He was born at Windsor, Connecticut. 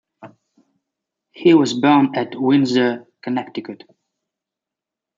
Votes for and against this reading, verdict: 2, 0, accepted